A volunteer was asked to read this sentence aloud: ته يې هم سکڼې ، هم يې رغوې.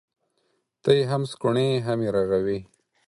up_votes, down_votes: 4, 0